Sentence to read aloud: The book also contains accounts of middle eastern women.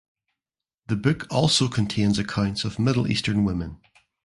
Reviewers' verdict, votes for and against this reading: accepted, 2, 0